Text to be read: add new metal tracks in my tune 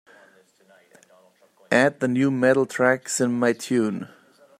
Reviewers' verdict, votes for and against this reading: rejected, 0, 2